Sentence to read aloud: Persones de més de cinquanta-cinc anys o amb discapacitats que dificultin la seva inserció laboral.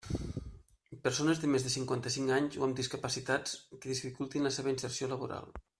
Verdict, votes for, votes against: rejected, 1, 2